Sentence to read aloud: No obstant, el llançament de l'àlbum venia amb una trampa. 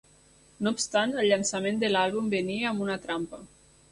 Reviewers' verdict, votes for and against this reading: accepted, 2, 0